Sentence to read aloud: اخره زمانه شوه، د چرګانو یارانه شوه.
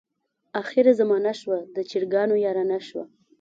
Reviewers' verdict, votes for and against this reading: accepted, 2, 0